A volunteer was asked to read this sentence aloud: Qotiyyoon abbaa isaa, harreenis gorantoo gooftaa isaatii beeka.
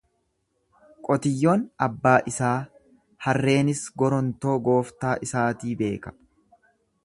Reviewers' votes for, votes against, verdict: 1, 2, rejected